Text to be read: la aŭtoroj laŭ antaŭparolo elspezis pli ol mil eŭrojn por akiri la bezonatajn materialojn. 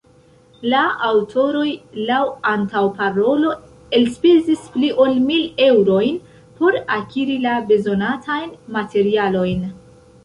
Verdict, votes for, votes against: rejected, 0, 2